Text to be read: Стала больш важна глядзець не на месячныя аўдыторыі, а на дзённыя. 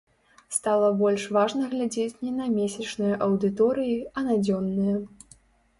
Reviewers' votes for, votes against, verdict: 3, 0, accepted